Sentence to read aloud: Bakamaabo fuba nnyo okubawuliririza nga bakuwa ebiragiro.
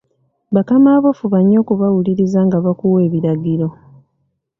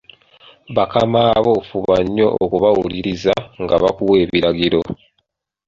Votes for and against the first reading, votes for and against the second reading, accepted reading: 1, 2, 2, 1, second